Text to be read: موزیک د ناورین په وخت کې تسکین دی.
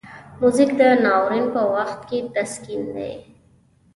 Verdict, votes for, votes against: accepted, 2, 0